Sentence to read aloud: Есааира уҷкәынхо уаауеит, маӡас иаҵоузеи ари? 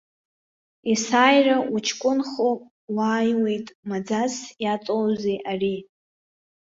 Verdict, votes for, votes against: rejected, 1, 2